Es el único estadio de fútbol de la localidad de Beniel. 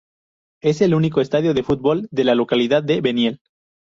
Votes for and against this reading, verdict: 2, 0, accepted